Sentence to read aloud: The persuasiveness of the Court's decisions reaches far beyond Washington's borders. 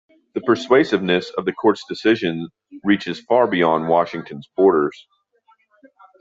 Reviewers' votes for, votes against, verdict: 2, 0, accepted